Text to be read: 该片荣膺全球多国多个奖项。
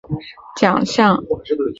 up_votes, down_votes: 2, 4